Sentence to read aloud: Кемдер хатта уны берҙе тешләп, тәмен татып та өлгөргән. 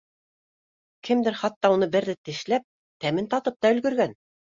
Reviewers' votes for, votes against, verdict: 2, 0, accepted